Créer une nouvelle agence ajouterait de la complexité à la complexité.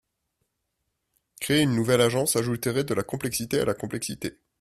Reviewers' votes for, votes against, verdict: 0, 2, rejected